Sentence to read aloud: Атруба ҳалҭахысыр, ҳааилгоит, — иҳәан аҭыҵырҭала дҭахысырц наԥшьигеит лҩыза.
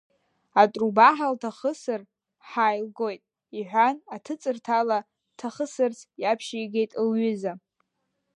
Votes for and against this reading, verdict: 0, 2, rejected